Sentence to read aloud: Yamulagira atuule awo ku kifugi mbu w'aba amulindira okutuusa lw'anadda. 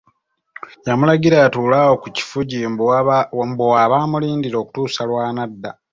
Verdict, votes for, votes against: rejected, 1, 2